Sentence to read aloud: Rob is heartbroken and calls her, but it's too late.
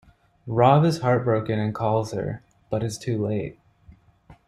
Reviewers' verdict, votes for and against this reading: accepted, 2, 0